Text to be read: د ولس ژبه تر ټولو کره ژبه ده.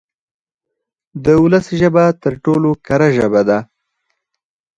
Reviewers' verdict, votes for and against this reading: rejected, 2, 4